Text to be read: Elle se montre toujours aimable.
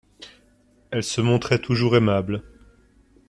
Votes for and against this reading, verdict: 0, 3, rejected